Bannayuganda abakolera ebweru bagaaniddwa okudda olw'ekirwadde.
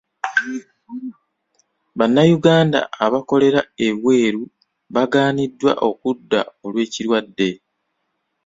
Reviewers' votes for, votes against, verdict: 2, 0, accepted